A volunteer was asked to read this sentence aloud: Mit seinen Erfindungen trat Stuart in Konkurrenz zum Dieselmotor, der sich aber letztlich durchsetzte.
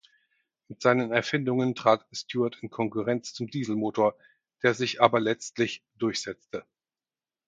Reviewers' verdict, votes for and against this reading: rejected, 0, 4